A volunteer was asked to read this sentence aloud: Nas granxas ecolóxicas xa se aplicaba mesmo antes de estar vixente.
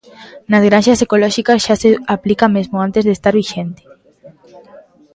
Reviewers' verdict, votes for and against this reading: rejected, 0, 2